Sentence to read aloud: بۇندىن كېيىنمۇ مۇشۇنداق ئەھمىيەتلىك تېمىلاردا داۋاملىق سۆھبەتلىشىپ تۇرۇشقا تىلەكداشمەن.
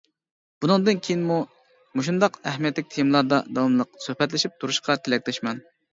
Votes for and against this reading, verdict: 2, 0, accepted